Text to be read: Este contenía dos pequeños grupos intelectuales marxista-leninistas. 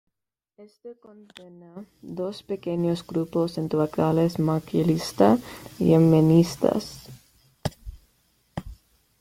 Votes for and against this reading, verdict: 1, 2, rejected